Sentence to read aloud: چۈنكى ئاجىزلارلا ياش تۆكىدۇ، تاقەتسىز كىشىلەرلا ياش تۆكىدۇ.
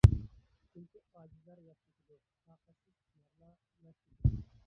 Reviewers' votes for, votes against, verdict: 0, 2, rejected